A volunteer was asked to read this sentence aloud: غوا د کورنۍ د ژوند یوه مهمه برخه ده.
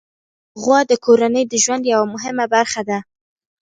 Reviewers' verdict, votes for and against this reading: rejected, 1, 2